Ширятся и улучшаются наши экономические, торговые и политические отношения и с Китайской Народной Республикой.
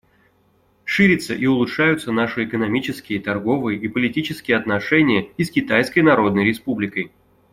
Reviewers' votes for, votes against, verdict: 2, 0, accepted